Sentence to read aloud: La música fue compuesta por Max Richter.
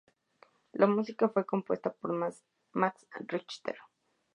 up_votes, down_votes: 0, 2